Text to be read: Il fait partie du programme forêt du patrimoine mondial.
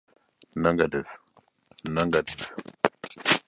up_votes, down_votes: 0, 2